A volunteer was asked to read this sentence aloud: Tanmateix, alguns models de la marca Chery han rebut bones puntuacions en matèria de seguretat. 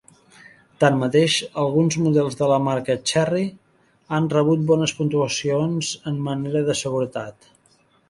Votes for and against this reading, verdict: 0, 2, rejected